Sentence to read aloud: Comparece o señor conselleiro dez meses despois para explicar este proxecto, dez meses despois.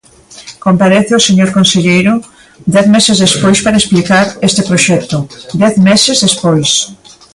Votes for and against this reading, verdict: 2, 0, accepted